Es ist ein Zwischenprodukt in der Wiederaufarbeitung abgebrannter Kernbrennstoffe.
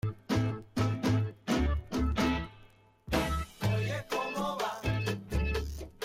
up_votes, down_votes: 0, 2